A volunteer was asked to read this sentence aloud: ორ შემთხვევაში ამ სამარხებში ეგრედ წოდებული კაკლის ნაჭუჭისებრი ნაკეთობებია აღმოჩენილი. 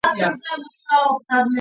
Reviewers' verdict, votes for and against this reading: rejected, 0, 2